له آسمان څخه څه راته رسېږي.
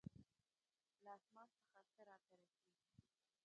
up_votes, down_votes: 1, 2